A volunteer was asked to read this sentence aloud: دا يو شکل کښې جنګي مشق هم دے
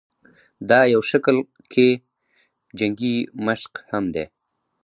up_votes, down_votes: 2, 2